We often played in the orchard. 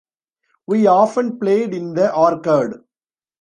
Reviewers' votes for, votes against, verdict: 0, 2, rejected